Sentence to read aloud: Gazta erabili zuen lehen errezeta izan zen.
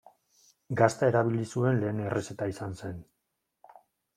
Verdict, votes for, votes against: rejected, 1, 2